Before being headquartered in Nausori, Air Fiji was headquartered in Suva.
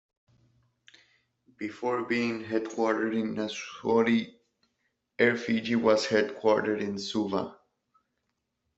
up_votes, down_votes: 2, 1